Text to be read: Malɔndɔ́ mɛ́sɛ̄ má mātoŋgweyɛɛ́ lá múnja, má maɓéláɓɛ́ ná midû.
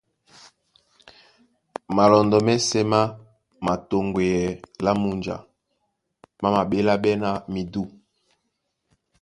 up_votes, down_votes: 2, 0